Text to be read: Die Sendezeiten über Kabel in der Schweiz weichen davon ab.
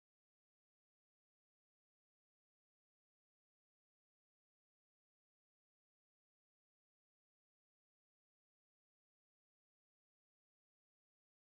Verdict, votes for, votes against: rejected, 0, 2